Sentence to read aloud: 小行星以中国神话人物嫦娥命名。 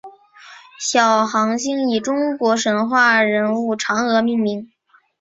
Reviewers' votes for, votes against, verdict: 2, 1, accepted